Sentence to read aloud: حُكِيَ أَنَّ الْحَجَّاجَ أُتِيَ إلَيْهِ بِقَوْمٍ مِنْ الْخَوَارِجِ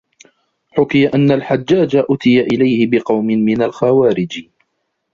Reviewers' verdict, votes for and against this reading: rejected, 1, 3